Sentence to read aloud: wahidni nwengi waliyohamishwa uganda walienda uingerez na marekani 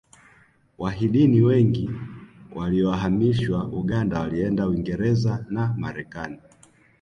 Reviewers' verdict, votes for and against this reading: accepted, 2, 0